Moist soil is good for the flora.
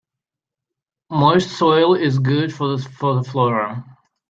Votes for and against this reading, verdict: 0, 3, rejected